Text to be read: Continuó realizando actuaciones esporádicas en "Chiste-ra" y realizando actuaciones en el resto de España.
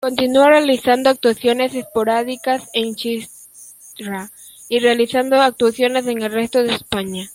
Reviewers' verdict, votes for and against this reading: rejected, 1, 2